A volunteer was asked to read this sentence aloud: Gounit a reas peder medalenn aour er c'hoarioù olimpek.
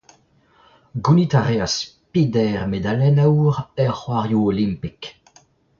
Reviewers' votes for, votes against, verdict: 2, 0, accepted